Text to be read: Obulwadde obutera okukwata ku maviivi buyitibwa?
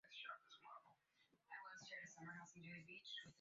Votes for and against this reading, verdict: 1, 2, rejected